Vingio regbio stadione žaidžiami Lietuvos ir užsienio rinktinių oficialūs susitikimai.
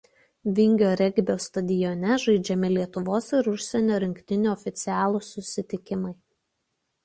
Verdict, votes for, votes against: accepted, 2, 0